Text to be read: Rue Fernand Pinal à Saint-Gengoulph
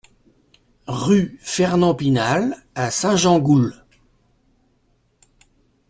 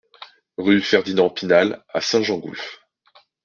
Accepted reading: first